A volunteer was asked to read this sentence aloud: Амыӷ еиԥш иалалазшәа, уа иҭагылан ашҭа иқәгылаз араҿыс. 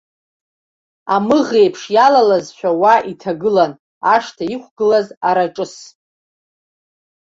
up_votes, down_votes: 0, 2